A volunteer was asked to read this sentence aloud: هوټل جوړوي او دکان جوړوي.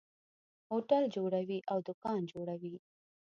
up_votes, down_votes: 2, 0